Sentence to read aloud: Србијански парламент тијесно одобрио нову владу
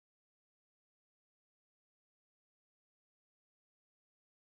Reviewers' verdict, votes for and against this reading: rejected, 0, 2